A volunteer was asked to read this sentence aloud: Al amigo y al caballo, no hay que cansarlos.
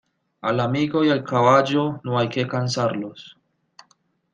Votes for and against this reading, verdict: 2, 0, accepted